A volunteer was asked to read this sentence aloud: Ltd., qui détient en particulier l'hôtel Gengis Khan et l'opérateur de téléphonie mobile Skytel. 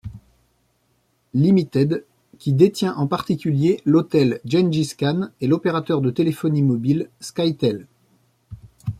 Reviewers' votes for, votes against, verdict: 1, 2, rejected